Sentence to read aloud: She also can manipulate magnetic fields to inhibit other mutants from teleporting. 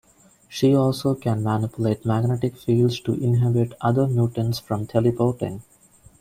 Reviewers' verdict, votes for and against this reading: rejected, 1, 2